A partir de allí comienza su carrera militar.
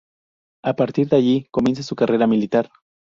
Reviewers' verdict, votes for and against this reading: accepted, 2, 0